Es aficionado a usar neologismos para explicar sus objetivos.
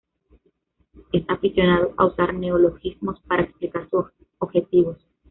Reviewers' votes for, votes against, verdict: 2, 0, accepted